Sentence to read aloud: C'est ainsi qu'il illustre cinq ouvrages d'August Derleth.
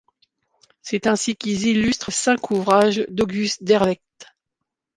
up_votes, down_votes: 1, 2